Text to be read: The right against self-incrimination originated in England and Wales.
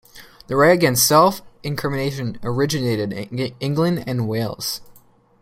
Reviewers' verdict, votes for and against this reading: rejected, 1, 2